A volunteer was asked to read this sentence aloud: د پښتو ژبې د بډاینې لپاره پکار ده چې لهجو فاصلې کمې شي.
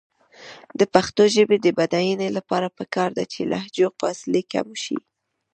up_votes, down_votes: 1, 2